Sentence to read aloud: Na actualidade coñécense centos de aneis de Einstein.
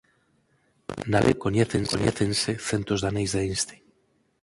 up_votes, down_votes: 0, 4